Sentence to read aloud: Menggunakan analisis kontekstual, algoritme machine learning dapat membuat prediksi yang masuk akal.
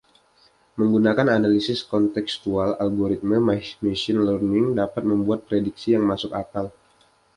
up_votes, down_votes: 2, 0